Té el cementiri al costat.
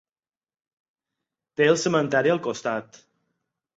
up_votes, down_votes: 2, 4